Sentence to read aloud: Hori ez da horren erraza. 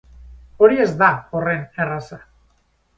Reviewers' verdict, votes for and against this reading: accepted, 4, 0